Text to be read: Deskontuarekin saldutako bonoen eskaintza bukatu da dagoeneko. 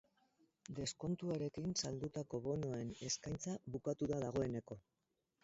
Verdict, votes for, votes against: rejected, 2, 2